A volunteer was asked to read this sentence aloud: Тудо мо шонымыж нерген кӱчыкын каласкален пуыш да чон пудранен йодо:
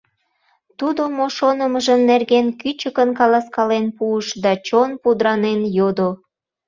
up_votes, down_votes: 0, 2